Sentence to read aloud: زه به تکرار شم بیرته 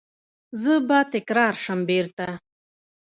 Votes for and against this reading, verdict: 0, 2, rejected